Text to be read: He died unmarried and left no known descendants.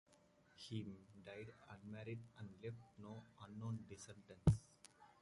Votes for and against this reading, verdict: 0, 2, rejected